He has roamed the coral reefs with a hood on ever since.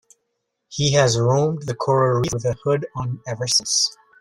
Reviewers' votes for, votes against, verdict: 0, 2, rejected